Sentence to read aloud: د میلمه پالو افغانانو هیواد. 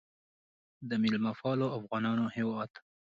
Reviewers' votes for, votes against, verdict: 2, 0, accepted